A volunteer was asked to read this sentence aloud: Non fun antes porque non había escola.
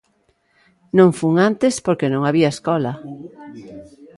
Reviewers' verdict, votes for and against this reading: rejected, 1, 2